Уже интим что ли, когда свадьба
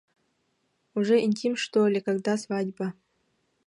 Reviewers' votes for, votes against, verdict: 0, 2, rejected